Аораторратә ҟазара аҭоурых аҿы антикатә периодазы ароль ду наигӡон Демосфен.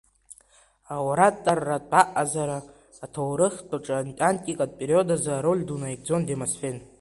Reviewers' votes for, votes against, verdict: 0, 2, rejected